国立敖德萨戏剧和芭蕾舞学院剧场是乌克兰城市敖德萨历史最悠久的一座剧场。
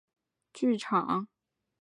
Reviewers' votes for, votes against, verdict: 1, 3, rejected